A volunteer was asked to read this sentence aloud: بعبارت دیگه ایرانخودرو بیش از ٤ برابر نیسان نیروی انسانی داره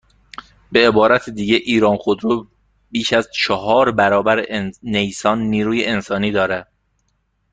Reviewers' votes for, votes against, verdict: 0, 2, rejected